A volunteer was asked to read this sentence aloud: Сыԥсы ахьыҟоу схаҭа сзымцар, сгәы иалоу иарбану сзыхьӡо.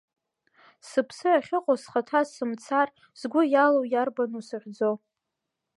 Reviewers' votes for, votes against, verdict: 0, 2, rejected